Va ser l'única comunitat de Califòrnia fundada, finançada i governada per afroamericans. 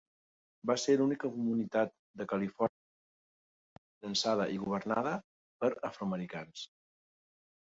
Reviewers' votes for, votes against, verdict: 0, 2, rejected